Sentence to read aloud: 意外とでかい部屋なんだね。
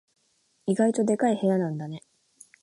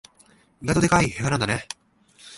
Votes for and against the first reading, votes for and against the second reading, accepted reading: 2, 0, 2, 3, first